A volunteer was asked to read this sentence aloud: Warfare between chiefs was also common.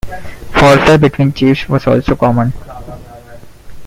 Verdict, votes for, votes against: rejected, 0, 2